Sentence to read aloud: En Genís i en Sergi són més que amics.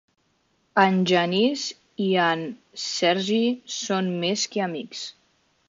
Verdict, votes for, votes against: accepted, 2, 0